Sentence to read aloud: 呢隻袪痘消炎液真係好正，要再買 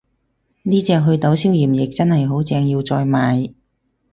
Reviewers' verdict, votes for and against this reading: accepted, 4, 0